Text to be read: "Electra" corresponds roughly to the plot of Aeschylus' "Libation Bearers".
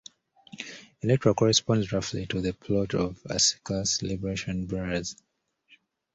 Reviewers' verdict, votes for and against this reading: rejected, 0, 2